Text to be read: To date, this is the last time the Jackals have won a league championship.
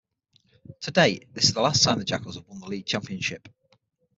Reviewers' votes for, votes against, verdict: 0, 6, rejected